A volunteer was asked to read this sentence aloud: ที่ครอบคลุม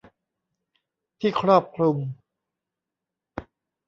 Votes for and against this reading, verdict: 2, 0, accepted